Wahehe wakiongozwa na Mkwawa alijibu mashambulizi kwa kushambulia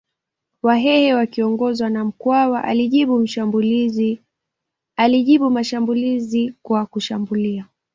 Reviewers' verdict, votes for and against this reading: accepted, 3, 1